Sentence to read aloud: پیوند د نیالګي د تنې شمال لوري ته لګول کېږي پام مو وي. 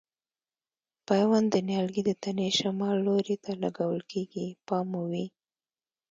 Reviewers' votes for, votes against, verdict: 0, 2, rejected